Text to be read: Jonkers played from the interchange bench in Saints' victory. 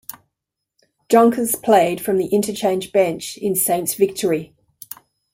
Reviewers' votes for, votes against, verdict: 0, 2, rejected